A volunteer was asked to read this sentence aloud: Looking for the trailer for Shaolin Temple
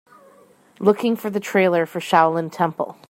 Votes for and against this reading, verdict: 2, 0, accepted